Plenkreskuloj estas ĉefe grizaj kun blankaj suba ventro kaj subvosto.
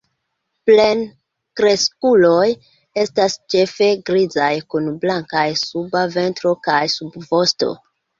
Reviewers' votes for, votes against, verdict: 2, 1, accepted